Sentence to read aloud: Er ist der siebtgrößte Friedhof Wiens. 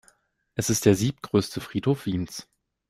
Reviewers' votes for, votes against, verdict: 1, 2, rejected